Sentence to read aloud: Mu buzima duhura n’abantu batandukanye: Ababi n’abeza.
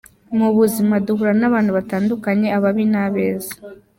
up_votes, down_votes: 2, 0